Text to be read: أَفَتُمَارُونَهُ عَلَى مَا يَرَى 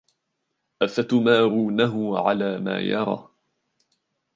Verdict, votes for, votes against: accepted, 2, 0